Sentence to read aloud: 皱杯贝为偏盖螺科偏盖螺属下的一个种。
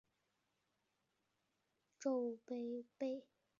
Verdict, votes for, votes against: rejected, 0, 4